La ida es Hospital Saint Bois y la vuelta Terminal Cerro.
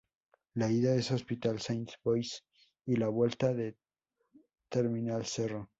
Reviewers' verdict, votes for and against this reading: rejected, 0, 4